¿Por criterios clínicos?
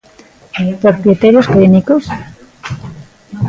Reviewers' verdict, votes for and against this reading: rejected, 1, 2